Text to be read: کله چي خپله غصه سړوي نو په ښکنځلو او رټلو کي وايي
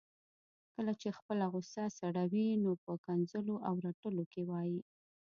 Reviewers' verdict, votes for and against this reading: accepted, 2, 0